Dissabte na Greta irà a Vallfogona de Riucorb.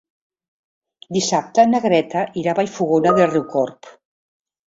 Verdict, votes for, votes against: rejected, 0, 2